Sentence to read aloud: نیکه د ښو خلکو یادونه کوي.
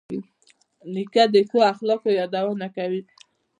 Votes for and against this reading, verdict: 0, 2, rejected